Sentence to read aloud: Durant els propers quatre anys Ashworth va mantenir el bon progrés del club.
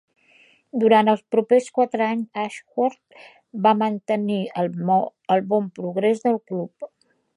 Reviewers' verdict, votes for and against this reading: rejected, 1, 2